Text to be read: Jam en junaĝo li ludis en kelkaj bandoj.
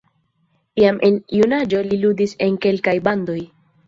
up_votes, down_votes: 2, 0